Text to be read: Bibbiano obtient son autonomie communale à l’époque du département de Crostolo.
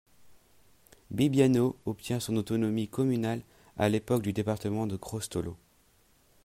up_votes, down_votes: 2, 0